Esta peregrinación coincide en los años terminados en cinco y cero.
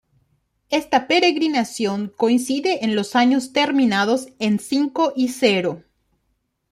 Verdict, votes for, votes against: accepted, 2, 0